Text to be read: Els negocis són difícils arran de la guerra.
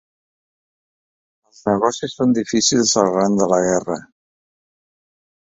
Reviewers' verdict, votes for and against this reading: accepted, 2, 0